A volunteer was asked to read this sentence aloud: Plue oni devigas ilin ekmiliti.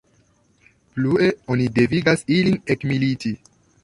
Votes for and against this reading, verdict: 1, 2, rejected